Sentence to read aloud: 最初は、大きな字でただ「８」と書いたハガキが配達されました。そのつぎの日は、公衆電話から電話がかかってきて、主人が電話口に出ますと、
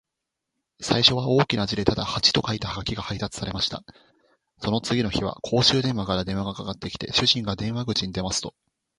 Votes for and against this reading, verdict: 0, 2, rejected